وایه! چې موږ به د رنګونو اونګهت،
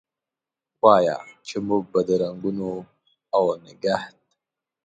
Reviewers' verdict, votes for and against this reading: rejected, 1, 2